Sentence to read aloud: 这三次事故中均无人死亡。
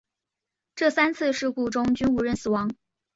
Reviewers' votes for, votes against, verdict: 2, 0, accepted